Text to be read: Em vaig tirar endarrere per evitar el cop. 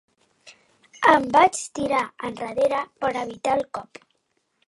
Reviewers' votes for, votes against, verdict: 2, 1, accepted